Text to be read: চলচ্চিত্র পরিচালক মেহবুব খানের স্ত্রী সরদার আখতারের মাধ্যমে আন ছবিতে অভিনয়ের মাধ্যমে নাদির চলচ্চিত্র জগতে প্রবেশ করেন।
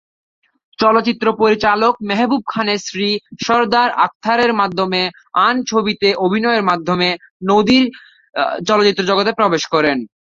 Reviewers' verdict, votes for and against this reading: rejected, 1, 2